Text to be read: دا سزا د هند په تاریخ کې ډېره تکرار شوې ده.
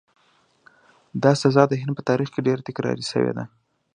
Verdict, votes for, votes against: accepted, 2, 0